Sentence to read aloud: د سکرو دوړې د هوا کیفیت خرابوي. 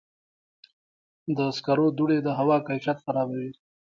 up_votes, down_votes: 0, 2